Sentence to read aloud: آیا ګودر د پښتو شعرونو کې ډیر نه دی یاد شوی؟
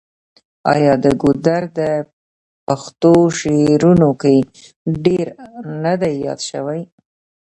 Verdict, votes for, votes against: rejected, 0, 2